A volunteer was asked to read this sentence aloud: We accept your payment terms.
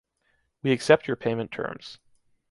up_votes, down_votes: 2, 0